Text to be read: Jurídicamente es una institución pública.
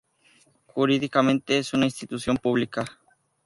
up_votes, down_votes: 2, 0